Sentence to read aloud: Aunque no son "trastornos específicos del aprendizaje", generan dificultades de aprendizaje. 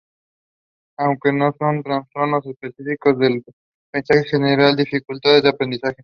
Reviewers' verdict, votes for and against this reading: rejected, 0, 4